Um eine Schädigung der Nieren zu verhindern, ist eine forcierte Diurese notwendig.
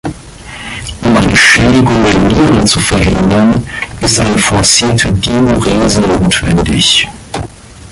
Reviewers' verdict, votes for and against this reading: rejected, 3, 5